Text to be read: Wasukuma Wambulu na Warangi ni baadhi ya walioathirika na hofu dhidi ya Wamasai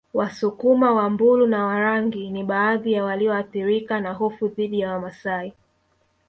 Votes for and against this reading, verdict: 1, 2, rejected